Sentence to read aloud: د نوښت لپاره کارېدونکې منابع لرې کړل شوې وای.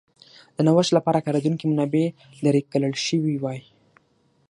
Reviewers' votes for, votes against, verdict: 6, 0, accepted